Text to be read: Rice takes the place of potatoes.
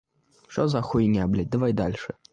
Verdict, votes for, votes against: rejected, 1, 2